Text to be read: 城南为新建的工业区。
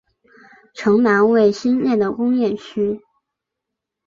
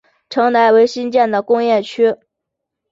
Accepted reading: second